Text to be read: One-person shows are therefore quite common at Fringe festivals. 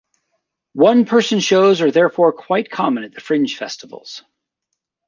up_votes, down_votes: 0, 2